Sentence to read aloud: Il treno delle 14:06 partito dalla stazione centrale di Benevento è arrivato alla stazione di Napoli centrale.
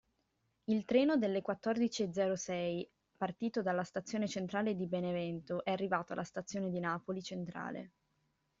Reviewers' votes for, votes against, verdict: 0, 2, rejected